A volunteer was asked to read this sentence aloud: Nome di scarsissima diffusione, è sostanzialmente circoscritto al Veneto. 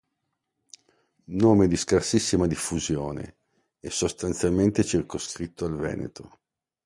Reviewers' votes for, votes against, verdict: 2, 0, accepted